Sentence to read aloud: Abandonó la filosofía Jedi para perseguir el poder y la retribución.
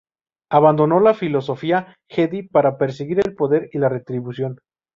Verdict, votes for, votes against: accepted, 2, 0